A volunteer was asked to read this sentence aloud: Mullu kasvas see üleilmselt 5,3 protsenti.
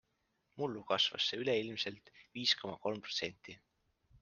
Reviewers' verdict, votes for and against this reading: rejected, 0, 2